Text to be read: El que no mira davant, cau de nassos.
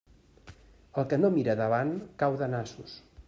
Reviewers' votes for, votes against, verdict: 2, 0, accepted